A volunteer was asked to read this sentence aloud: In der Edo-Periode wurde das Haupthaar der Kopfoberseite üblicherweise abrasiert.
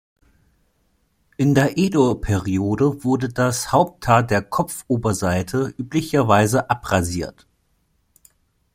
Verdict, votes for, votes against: accepted, 2, 0